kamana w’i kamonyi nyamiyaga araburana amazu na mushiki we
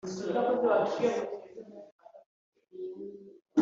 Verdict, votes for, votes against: rejected, 1, 2